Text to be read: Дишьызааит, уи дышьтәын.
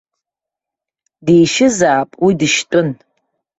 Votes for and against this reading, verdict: 2, 1, accepted